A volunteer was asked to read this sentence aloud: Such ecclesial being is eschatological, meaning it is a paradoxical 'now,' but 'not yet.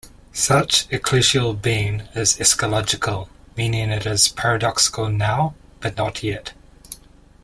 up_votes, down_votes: 0, 2